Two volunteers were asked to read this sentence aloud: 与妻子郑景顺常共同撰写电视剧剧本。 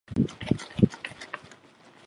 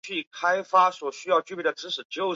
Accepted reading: first